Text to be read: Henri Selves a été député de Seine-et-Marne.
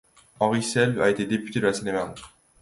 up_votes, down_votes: 2, 1